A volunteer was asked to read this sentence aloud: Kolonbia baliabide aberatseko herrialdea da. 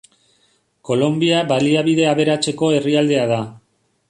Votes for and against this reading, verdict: 3, 0, accepted